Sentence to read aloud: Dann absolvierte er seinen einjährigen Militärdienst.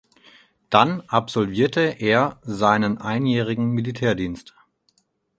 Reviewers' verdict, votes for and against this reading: accepted, 4, 0